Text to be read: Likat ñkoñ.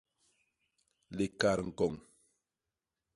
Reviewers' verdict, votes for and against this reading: accepted, 2, 0